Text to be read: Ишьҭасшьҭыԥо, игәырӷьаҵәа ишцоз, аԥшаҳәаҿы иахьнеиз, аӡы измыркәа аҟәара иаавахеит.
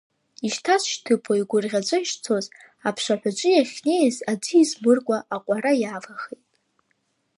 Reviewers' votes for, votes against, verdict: 1, 2, rejected